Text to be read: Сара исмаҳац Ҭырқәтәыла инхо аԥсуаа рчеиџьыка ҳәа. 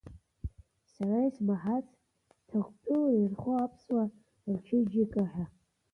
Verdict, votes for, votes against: rejected, 1, 2